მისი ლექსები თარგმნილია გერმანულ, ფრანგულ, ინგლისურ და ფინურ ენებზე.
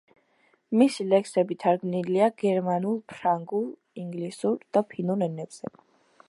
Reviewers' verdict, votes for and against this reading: accepted, 2, 1